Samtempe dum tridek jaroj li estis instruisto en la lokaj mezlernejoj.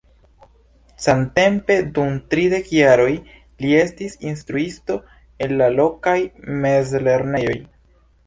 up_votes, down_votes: 2, 0